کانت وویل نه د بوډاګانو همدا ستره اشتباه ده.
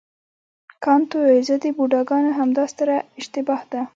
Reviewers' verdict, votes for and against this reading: accepted, 2, 0